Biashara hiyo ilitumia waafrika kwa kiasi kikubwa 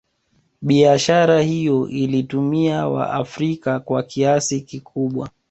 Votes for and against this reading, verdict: 2, 0, accepted